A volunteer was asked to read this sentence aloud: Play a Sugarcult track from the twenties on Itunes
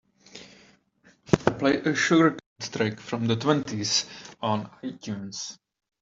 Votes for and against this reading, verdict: 0, 2, rejected